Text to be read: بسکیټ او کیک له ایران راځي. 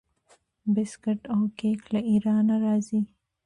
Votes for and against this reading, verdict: 2, 0, accepted